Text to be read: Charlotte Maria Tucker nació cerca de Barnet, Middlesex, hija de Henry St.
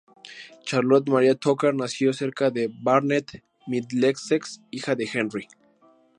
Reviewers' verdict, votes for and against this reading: rejected, 0, 2